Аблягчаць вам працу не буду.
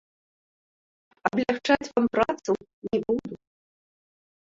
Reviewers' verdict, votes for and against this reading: rejected, 0, 3